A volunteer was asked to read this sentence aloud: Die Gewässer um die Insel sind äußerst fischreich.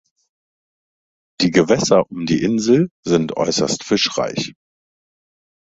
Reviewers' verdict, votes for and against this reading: accepted, 2, 0